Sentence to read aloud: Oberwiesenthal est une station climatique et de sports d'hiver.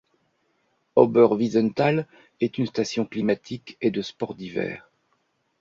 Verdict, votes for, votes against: accepted, 3, 0